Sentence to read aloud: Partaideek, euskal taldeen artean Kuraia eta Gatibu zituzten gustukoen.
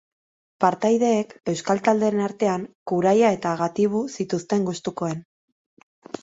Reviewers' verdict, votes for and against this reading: accepted, 2, 0